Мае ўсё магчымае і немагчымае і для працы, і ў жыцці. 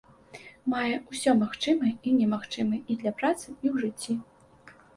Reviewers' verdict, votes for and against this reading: accepted, 2, 0